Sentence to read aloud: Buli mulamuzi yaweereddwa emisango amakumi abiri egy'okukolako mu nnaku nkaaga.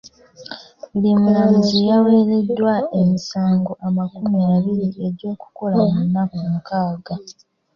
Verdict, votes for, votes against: rejected, 1, 2